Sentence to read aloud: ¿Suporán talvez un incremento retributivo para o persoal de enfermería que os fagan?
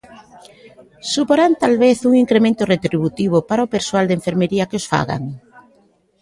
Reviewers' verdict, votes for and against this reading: accepted, 2, 0